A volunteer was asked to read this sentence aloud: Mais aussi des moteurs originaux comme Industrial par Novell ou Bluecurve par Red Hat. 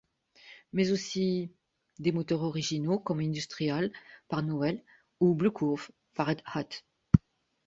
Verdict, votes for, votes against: rejected, 0, 2